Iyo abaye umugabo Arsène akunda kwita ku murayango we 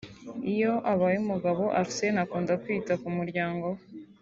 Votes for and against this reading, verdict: 3, 0, accepted